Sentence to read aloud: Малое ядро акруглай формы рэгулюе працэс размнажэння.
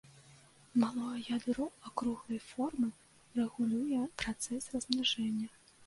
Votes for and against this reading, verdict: 1, 2, rejected